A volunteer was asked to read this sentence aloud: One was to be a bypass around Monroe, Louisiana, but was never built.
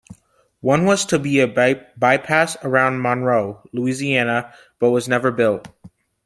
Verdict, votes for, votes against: rejected, 1, 2